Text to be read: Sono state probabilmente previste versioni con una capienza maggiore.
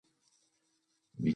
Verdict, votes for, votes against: rejected, 1, 2